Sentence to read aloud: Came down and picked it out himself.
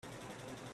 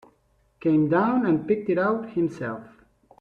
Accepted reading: second